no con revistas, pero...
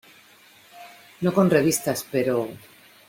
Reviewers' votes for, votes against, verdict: 2, 0, accepted